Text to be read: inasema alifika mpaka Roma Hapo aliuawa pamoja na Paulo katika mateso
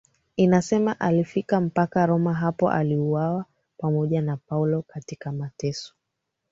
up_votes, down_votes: 2, 1